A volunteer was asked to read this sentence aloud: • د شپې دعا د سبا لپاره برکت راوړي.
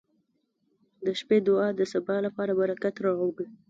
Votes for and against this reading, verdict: 0, 2, rejected